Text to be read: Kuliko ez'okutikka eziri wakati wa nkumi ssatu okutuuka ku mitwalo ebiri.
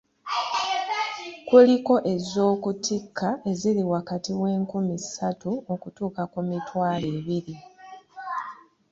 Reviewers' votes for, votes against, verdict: 0, 2, rejected